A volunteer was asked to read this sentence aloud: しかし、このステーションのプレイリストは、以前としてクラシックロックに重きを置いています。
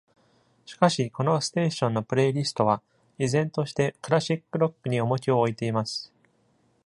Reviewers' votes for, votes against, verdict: 2, 0, accepted